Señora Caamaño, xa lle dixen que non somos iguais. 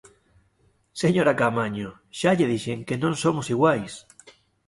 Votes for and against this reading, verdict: 2, 0, accepted